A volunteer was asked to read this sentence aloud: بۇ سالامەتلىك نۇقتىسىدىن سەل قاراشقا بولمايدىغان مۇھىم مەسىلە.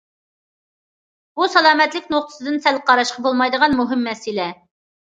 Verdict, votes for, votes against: accepted, 2, 0